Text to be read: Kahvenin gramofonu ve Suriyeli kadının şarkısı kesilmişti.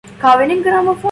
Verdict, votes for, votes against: rejected, 0, 2